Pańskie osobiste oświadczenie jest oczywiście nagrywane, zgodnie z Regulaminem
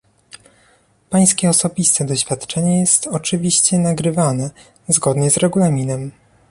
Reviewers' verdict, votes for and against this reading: accepted, 2, 0